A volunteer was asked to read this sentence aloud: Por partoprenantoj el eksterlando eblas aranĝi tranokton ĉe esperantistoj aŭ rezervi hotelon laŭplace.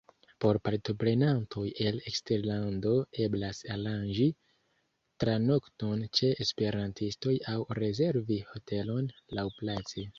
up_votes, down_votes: 1, 2